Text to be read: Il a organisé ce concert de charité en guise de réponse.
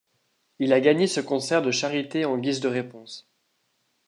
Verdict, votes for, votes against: rejected, 1, 2